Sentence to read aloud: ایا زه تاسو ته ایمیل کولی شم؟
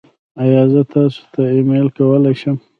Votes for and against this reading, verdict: 2, 1, accepted